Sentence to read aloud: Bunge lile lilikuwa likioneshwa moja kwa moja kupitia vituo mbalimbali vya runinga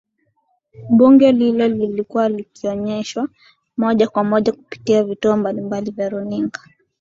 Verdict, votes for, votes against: accepted, 6, 0